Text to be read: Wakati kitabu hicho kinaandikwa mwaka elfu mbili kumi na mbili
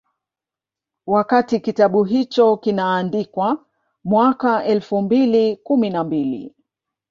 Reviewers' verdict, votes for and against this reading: accepted, 2, 0